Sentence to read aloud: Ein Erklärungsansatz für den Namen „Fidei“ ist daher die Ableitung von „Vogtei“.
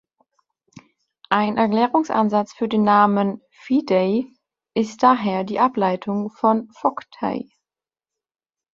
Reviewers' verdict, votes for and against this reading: accepted, 3, 0